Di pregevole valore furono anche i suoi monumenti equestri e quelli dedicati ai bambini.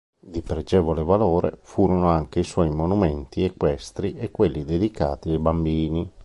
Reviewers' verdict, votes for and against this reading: accepted, 2, 0